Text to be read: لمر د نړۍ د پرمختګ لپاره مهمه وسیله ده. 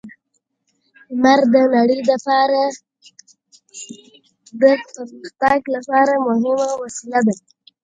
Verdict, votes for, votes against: rejected, 1, 2